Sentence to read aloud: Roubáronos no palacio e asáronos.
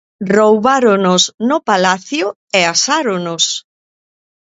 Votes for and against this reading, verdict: 2, 0, accepted